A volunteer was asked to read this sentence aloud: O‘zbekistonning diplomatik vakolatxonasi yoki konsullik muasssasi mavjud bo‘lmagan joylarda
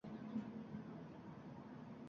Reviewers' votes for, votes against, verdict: 0, 2, rejected